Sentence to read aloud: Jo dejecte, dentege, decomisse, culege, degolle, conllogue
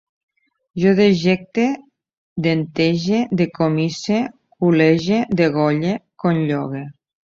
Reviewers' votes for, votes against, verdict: 3, 0, accepted